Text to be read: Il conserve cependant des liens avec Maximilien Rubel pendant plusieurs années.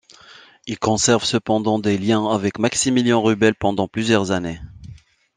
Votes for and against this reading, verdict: 2, 0, accepted